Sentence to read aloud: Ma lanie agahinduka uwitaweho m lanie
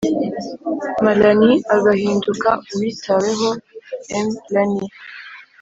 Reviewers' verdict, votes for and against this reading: accepted, 3, 0